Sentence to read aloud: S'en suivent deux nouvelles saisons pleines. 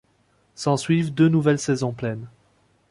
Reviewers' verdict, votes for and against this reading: accepted, 2, 0